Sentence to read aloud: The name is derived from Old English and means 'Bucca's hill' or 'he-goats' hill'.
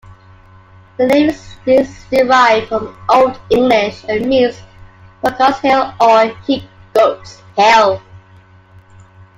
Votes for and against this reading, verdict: 0, 2, rejected